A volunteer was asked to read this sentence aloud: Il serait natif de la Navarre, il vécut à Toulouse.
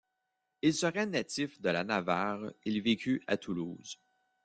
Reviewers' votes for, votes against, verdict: 2, 1, accepted